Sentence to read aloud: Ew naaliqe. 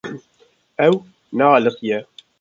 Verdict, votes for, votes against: rejected, 0, 2